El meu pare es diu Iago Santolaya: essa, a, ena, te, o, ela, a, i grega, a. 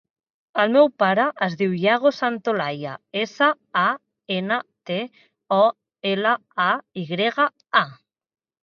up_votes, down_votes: 2, 0